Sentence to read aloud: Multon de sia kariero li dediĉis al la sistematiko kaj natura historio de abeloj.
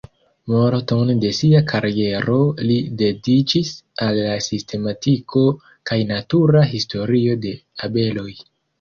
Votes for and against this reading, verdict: 2, 0, accepted